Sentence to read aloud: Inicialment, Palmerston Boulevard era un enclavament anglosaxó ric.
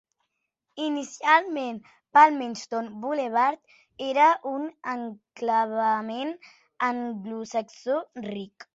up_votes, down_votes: 5, 0